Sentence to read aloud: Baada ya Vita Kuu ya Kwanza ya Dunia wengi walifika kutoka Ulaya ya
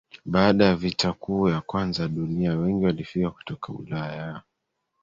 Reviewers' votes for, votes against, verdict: 1, 2, rejected